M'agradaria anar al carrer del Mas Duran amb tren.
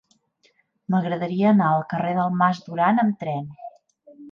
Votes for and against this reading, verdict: 3, 0, accepted